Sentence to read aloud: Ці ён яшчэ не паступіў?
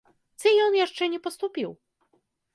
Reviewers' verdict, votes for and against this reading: accepted, 2, 0